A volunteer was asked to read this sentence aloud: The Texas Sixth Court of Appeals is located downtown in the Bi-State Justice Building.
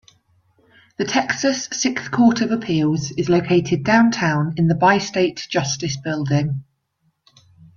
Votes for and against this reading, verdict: 2, 0, accepted